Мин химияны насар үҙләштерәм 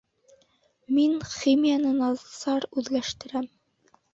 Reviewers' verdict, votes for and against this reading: rejected, 1, 2